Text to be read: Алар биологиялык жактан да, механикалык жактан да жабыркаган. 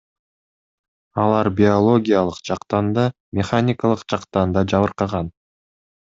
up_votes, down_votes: 2, 0